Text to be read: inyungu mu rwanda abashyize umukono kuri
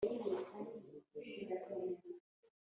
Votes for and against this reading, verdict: 0, 2, rejected